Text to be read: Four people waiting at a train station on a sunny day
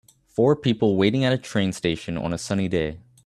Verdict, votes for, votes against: accepted, 2, 0